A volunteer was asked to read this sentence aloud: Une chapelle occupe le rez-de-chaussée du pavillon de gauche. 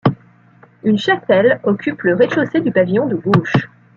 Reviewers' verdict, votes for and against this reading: accepted, 2, 0